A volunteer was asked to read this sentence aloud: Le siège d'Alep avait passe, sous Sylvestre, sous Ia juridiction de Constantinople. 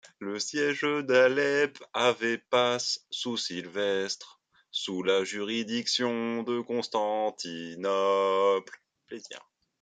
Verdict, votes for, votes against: accepted, 2, 1